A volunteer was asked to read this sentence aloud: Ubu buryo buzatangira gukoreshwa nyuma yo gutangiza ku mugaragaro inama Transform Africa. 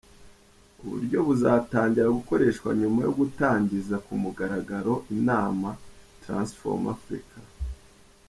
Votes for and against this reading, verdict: 2, 1, accepted